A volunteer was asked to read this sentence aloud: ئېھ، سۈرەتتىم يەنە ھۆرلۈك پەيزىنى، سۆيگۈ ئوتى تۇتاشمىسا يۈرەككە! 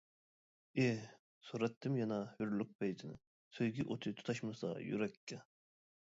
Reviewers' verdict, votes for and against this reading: rejected, 1, 2